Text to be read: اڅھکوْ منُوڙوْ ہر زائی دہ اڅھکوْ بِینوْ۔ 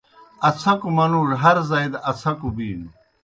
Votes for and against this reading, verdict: 2, 0, accepted